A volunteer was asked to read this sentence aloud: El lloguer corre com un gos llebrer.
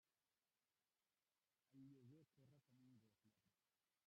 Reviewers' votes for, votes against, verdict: 0, 2, rejected